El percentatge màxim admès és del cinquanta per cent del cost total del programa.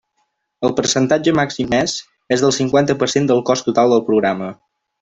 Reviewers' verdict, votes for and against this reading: rejected, 0, 2